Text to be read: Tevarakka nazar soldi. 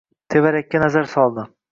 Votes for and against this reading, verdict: 2, 0, accepted